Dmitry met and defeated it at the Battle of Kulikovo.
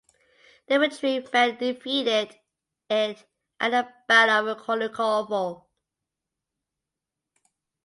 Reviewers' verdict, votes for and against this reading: rejected, 0, 2